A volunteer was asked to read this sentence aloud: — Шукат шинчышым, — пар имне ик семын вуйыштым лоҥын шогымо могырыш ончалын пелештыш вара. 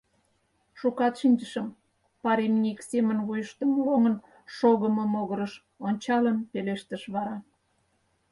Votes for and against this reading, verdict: 4, 0, accepted